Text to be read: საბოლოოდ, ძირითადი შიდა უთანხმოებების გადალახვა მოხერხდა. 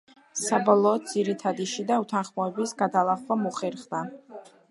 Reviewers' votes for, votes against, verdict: 2, 0, accepted